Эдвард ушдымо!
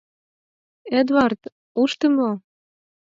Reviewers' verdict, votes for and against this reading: rejected, 2, 4